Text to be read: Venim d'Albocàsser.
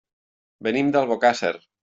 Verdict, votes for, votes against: accepted, 3, 0